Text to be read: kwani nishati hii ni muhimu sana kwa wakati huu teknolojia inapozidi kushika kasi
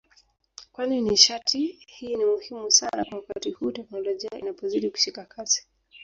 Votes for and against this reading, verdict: 2, 0, accepted